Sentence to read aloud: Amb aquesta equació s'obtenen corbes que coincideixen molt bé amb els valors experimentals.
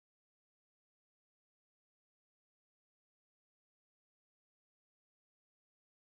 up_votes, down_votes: 0, 2